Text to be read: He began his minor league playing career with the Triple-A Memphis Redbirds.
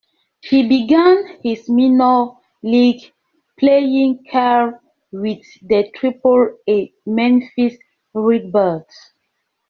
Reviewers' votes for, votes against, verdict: 1, 2, rejected